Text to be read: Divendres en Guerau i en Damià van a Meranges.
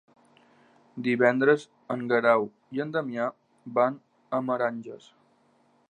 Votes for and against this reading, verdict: 3, 1, accepted